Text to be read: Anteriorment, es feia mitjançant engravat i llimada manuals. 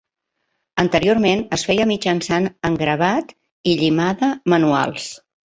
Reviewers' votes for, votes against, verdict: 2, 0, accepted